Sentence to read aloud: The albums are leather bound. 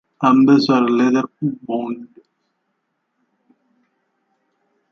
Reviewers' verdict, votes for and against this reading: rejected, 0, 2